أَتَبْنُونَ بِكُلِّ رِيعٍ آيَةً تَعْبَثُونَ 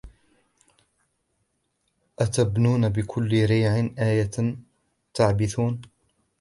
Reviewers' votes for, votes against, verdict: 1, 2, rejected